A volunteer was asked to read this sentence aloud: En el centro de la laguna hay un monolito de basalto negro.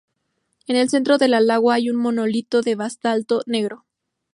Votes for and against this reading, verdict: 0, 2, rejected